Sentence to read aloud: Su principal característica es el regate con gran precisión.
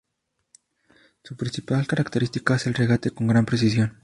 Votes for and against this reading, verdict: 2, 0, accepted